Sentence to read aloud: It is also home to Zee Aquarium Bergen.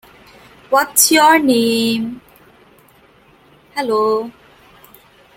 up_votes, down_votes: 0, 2